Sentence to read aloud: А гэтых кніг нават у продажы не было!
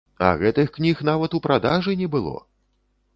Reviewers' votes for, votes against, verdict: 0, 2, rejected